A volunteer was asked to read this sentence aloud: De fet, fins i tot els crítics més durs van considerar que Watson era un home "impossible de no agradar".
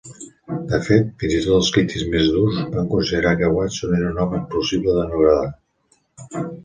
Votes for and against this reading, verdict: 0, 2, rejected